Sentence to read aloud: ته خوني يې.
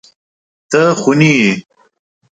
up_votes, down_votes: 2, 0